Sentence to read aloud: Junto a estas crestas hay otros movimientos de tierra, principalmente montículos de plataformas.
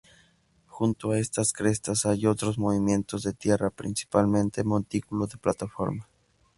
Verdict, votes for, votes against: accepted, 2, 0